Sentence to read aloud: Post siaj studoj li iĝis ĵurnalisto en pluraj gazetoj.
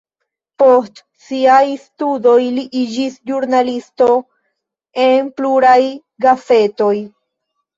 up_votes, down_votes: 1, 2